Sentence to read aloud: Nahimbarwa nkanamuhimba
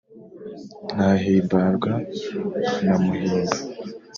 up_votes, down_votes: 2, 0